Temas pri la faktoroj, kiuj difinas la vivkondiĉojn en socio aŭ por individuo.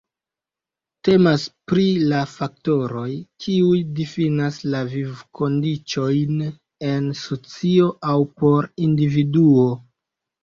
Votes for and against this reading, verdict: 2, 1, accepted